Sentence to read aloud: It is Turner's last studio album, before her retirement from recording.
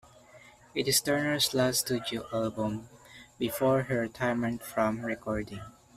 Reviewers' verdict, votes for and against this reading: accepted, 2, 1